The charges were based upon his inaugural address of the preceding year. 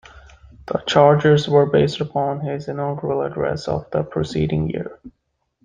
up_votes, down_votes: 2, 0